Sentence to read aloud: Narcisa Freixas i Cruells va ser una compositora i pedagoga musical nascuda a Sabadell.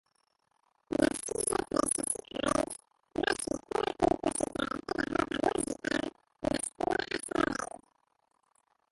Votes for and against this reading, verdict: 0, 2, rejected